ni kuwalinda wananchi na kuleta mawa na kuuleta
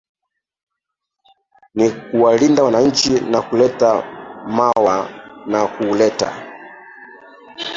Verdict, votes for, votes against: rejected, 0, 2